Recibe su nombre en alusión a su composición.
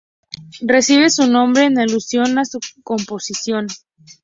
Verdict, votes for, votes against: accepted, 2, 0